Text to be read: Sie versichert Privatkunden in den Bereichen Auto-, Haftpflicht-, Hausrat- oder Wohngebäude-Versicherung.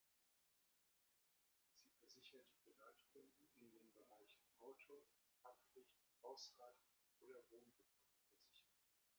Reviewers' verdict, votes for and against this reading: rejected, 1, 2